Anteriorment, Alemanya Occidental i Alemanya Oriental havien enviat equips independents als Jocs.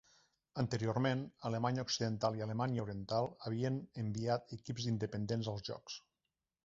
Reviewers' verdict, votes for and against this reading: accepted, 3, 0